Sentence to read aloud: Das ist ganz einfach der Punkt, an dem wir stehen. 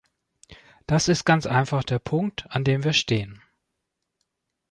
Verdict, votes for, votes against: accepted, 2, 0